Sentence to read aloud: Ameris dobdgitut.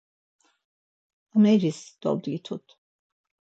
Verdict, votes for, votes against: accepted, 4, 0